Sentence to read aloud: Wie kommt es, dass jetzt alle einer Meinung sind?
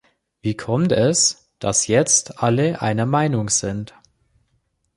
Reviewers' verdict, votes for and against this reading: accepted, 2, 1